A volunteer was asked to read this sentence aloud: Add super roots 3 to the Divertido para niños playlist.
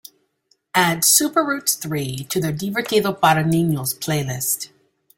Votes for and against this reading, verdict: 0, 2, rejected